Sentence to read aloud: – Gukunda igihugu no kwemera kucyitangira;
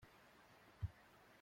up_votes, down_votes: 0, 2